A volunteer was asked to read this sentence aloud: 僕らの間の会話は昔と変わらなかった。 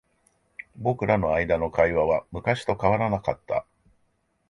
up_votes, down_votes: 2, 0